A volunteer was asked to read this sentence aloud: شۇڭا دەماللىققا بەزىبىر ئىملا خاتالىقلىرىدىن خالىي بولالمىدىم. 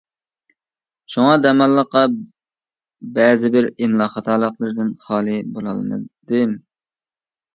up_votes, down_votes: 2, 0